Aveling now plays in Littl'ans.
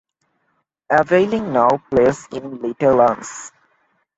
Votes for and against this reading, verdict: 2, 0, accepted